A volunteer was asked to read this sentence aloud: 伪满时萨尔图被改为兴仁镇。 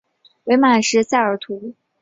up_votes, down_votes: 1, 2